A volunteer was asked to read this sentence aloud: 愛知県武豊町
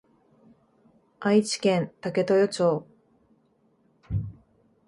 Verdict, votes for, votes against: accepted, 2, 0